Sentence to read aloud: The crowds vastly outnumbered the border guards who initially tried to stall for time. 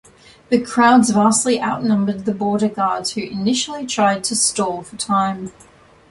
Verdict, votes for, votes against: accepted, 2, 0